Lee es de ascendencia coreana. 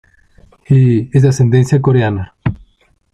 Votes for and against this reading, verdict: 2, 1, accepted